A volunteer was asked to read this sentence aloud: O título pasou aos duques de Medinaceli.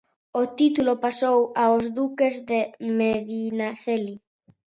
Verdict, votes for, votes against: accepted, 2, 0